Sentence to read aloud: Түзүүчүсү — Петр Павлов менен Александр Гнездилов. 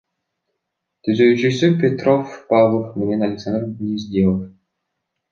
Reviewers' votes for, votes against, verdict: 1, 3, rejected